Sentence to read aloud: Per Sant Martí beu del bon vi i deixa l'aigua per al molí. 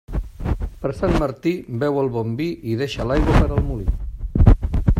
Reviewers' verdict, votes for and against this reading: rejected, 0, 2